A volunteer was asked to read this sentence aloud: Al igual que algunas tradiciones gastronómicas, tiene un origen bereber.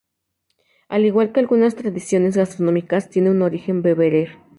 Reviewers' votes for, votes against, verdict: 0, 2, rejected